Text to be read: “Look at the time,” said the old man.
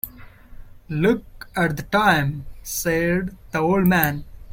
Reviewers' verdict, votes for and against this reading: accepted, 2, 0